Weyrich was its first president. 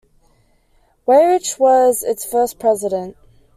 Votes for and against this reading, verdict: 2, 0, accepted